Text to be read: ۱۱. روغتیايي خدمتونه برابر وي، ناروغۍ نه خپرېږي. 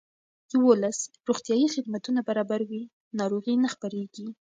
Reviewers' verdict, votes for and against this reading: rejected, 0, 2